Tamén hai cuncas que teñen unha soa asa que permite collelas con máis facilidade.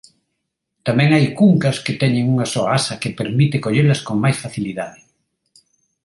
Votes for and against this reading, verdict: 2, 0, accepted